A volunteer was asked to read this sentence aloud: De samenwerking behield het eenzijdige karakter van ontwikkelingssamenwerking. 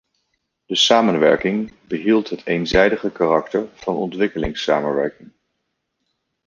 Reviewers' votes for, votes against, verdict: 1, 2, rejected